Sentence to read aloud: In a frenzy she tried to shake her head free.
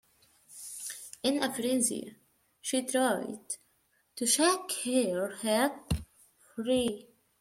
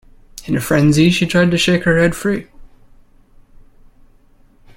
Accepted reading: second